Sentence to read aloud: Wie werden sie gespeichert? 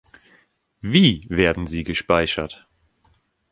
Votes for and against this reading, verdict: 2, 0, accepted